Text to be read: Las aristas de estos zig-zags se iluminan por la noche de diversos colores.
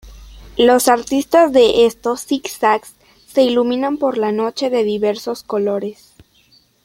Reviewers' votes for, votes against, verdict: 1, 2, rejected